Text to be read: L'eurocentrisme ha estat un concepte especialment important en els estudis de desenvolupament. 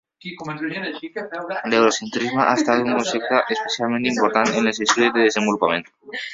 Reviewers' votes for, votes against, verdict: 1, 2, rejected